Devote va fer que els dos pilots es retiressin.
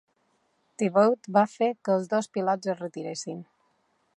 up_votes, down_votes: 2, 0